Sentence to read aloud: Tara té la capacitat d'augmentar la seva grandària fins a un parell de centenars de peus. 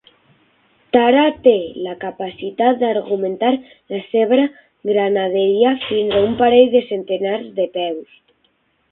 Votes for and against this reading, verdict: 0, 6, rejected